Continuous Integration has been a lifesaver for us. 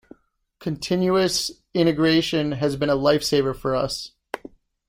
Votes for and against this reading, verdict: 2, 0, accepted